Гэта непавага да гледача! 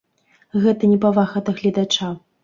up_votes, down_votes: 3, 0